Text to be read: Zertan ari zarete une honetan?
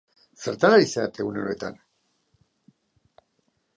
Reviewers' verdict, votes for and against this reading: rejected, 0, 2